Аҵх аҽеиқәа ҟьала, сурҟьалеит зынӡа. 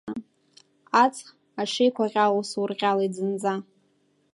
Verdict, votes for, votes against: rejected, 1, 2